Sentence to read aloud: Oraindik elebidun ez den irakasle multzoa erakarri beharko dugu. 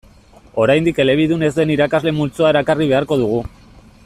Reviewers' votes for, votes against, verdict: 2, 0, accepted